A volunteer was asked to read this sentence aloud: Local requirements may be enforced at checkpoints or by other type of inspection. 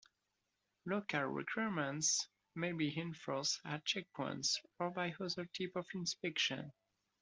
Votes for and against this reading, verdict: 1, 2, rejected